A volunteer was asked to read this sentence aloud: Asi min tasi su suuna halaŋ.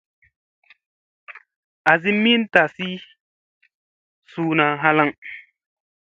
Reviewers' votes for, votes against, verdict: 2, 0, accepted